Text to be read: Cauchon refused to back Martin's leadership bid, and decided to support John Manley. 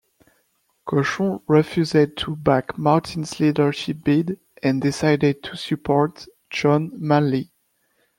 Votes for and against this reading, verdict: 1, 2, rejected